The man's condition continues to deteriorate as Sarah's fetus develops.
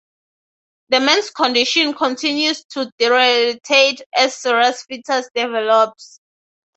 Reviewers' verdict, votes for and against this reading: rejected, 0, 9